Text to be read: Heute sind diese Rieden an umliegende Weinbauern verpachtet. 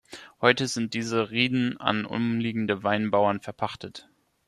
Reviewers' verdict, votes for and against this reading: accepted, 2, 0